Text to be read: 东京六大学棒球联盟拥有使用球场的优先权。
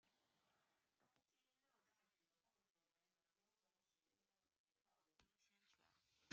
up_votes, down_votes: 0, 2